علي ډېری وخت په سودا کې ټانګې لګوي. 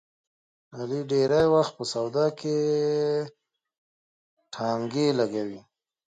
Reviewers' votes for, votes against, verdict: 2, 1, accepted